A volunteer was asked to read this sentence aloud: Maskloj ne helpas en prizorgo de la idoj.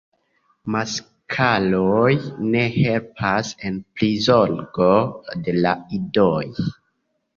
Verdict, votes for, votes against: rejected, 0, 2